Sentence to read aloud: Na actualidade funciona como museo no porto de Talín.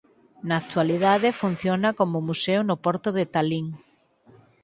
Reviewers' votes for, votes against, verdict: 4, 2, accepted